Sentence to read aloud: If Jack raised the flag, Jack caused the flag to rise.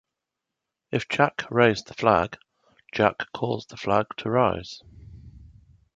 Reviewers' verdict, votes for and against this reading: accepted, 3, 0